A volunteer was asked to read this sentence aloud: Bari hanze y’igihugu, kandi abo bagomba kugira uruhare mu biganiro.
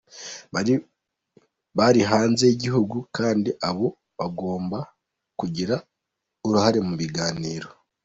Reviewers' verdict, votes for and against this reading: rejected, 0, 2